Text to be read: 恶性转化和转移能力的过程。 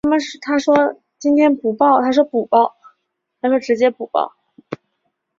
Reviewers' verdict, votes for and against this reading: rejected, 3, 4